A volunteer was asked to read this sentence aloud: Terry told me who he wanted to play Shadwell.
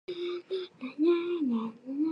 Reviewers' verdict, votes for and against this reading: rejected, 0, 2